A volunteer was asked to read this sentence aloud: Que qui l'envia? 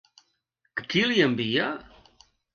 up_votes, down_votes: 1, 2